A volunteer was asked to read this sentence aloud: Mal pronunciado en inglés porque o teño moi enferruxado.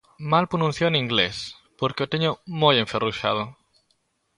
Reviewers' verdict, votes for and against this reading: rejected, 1, 2